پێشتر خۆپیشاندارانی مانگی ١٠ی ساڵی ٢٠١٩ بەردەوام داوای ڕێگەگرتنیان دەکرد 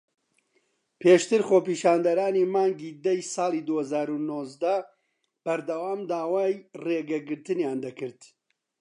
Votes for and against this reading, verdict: 0, 2, rejected